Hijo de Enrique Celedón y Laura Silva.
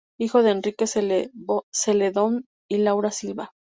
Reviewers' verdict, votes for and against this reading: accepted, 2, 0